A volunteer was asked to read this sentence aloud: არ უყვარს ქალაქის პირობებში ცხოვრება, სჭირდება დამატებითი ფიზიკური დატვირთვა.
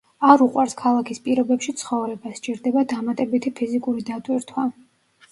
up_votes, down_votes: 1, 2